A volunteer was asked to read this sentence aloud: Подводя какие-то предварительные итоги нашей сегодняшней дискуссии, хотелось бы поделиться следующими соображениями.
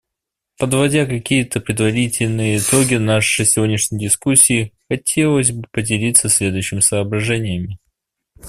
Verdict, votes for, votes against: accepted, 2, 0